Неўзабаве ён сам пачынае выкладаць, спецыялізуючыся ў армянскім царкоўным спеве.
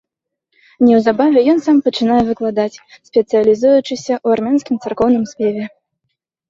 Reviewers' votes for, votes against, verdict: 2, 0, accepted